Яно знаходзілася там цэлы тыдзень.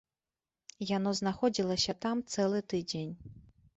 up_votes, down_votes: 3, 0